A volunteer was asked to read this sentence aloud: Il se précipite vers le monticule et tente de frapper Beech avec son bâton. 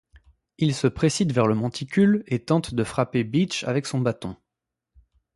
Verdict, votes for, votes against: rejected, 0, 2